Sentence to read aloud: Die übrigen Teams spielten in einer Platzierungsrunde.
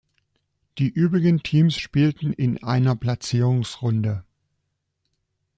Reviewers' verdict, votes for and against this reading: accepted, 2, 0